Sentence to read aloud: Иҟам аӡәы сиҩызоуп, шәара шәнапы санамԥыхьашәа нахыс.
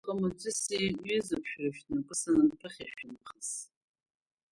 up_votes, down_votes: 1, 2